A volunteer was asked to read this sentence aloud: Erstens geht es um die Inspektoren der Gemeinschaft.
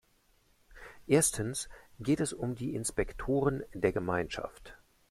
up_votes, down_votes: 2, 0